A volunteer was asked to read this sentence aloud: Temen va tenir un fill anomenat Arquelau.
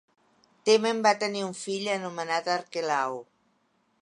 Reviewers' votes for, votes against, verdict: 2, 0, accepted